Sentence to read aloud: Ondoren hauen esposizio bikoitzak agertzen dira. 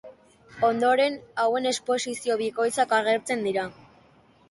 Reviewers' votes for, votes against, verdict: 4, 0, accepted